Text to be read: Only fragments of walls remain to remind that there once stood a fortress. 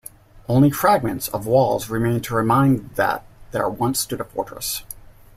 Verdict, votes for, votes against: accepted, 2, 0